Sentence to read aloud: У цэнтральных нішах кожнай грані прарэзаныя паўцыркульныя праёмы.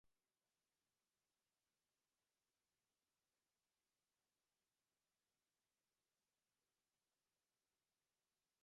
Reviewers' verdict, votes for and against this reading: rejected, 0, 2